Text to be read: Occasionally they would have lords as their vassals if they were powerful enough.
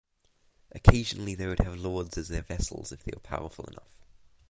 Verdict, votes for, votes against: accepted, 2, 0